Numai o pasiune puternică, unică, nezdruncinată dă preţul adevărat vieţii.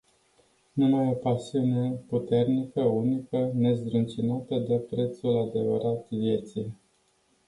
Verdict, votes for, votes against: accepted, 2, 0